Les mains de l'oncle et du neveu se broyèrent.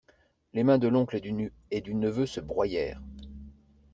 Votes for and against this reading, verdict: 0, 2, rejected